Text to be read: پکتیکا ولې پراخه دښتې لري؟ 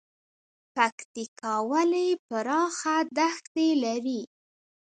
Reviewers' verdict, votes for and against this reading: accepted, 2, 1